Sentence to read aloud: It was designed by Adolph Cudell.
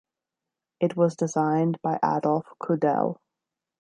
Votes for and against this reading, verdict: 2, 0, accepted